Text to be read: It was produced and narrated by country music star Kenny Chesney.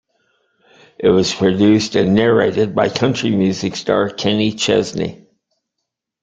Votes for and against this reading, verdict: 2, 0, accepted